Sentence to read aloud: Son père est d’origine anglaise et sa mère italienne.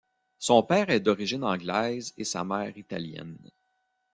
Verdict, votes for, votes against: accepted, 2, 1